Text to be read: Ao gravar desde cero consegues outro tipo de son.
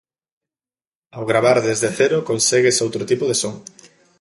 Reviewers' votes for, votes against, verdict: 2, 0, accepted